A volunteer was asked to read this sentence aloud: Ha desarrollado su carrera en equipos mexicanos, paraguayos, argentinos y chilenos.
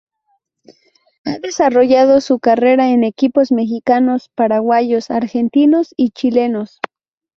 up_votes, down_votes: 4, 0